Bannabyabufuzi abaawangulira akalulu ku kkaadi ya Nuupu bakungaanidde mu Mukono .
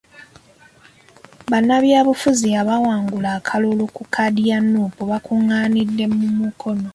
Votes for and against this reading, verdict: 2, 0, accepted